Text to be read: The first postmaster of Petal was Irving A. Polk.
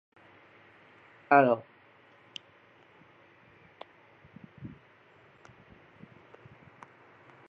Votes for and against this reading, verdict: 0, 2, rejected